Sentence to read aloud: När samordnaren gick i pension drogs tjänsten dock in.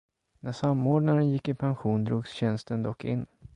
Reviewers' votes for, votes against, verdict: 0, 2, rejected